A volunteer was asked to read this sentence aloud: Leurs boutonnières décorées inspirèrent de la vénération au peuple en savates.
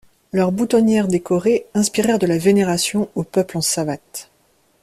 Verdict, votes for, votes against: accepted, 2, 0